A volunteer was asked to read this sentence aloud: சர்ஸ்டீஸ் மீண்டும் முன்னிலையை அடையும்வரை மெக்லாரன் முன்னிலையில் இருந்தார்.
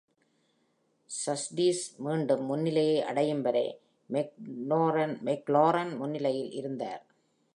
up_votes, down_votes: 0, 2